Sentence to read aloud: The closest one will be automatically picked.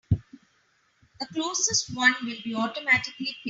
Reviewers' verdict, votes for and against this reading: rejected, 2, 4